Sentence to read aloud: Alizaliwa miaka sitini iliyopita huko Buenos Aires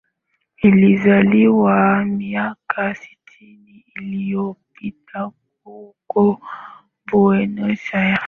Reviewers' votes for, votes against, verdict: 3, 0, accepted